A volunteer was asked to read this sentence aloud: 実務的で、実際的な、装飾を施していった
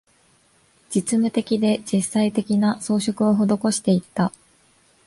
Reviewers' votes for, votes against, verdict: 2, 0, accepted